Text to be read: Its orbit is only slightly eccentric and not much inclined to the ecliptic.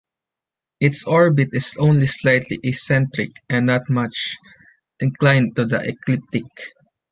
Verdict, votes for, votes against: accepted, 2, 0